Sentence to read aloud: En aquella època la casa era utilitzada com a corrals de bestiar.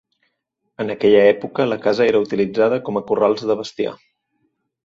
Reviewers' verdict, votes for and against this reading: accepted, 2, 0